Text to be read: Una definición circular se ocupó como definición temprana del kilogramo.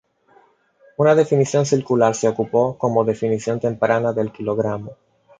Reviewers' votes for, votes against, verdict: 2, 0, accepted